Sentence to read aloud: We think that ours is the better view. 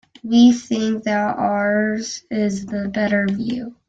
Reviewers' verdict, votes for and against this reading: rejected, 1, 2